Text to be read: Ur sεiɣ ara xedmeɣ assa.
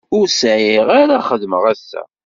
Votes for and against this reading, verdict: 2, 0, accepted